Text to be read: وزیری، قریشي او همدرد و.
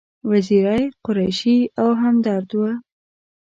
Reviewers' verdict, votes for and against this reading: accepted, 2, 0